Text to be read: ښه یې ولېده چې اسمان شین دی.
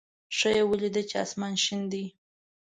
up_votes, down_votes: 1, 2